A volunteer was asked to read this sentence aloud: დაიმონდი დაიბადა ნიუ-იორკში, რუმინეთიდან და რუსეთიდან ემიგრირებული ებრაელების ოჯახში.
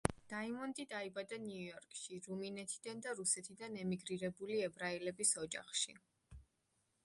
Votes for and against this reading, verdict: 2, 0, accepted